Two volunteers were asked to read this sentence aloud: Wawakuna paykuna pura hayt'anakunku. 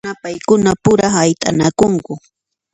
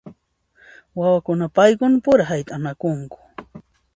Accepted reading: second